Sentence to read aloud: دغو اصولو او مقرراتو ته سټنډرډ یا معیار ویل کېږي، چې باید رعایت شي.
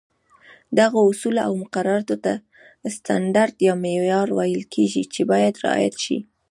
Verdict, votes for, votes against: rejected, 1, 2